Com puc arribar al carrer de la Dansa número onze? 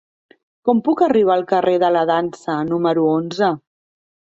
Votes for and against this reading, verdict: 3, 0, accepted